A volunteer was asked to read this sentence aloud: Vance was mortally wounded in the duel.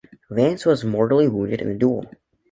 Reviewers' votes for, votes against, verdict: 1, 2, rejected